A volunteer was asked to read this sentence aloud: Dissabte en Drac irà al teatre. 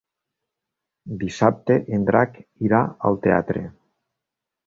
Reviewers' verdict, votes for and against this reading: accepted, 3, 0